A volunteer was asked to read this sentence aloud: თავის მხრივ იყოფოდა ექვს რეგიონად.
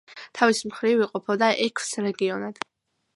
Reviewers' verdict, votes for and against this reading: accepted, 2, 0